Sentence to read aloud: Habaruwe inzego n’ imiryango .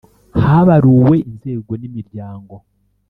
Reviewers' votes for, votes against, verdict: 2, 0, accepted